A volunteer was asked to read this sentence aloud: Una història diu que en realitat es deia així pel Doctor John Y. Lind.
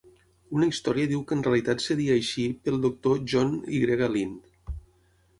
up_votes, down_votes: 0, 6